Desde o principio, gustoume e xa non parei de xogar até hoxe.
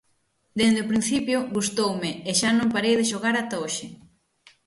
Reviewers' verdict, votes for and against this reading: rejected, 0, 6